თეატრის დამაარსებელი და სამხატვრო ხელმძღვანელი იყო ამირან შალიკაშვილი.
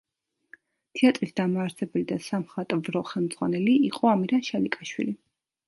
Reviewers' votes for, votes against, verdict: 2, 0, accepted